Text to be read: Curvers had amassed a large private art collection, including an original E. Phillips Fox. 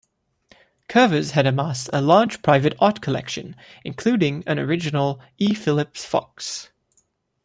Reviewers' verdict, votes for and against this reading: rejected, 0, 2